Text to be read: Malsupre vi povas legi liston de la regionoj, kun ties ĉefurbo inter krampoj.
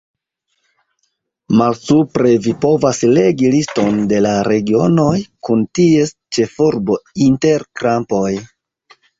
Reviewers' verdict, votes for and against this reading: accepted, 2, 1